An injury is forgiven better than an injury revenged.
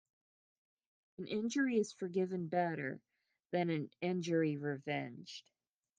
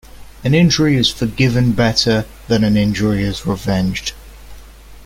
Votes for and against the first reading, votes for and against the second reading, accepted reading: 2, 1, 0, 2, first